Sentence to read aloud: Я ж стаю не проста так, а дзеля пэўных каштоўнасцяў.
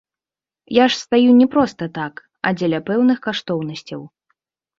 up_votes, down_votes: 2, 0